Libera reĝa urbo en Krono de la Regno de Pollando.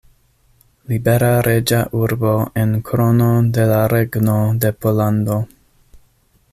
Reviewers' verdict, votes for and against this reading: accepted, 2, 0